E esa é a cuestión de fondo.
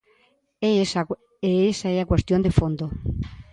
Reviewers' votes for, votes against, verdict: 0, 2, rejected